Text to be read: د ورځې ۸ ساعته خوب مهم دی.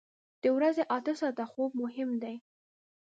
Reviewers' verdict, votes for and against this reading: rejected, 0, 2